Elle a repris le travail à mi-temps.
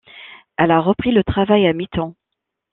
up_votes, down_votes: 2, 0